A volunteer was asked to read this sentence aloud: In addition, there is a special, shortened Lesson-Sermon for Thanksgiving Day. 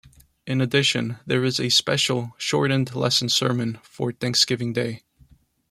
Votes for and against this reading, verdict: 2, 0, accepted